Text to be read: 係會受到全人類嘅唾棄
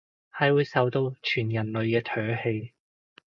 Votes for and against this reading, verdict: 2, 0, accepted